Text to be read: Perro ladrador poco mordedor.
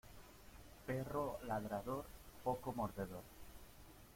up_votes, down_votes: 2, 0